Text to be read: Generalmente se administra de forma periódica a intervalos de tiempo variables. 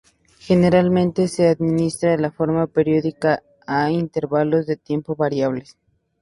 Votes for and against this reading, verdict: 0, 2, rejected